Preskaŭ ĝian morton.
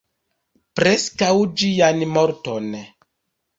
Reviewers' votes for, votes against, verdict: 2, 0, accepted